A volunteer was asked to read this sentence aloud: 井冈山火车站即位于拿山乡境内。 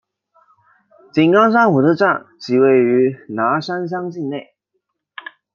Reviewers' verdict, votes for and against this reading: accepted, 2, 0